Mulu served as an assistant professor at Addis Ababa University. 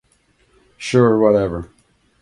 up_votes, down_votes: 0, 2